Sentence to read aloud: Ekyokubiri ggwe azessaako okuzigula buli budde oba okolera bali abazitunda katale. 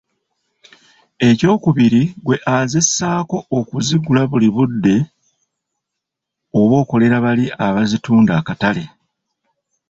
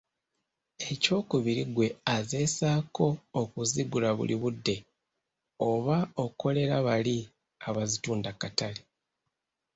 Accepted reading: second